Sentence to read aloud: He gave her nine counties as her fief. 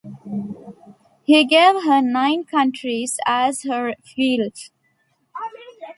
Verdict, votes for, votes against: rejected, 0, 2